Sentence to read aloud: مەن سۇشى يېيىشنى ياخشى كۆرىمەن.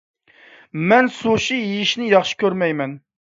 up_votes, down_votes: 0, 2